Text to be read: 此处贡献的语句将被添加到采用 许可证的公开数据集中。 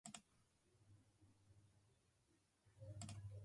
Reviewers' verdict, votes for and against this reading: rejected, 0, 2